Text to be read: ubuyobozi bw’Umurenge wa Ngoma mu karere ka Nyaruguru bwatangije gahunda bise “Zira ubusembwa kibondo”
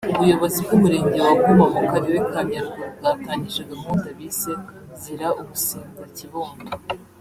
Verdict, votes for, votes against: rejected, 1, 2